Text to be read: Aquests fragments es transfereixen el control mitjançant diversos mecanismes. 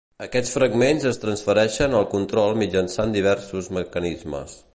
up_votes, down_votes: 2, 0